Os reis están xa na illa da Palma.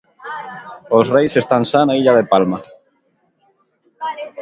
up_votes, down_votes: 0, 2